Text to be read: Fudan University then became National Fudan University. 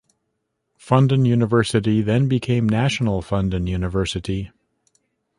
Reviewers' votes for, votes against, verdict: 0, 2, rejected